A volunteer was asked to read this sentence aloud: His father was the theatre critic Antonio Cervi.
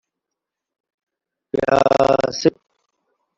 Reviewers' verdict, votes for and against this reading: rejected, 0, 2